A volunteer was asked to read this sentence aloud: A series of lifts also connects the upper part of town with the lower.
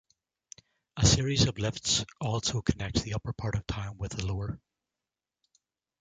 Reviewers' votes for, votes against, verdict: 2, 0, accepted